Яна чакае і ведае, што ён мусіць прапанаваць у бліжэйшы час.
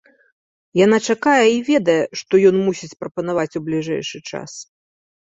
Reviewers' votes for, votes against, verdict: 2, 0, accepted